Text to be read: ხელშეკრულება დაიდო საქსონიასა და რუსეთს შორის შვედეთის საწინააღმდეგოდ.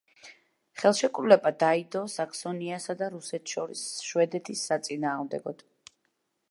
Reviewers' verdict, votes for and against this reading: accepted, 2, 0